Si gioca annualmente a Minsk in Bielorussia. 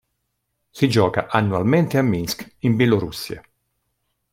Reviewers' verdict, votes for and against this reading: accepted, 2, 0